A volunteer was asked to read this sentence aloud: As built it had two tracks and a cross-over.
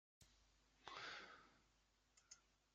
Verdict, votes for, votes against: rejected, 0, 2